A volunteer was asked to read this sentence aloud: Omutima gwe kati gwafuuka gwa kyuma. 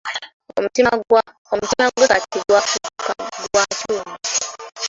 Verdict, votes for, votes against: accepted, 2, 0